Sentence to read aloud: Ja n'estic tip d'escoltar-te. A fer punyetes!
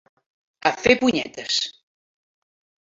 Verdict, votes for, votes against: rejected, 0, 2